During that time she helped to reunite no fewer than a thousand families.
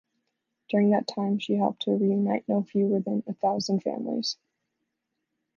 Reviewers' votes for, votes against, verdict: 2, 0, accepted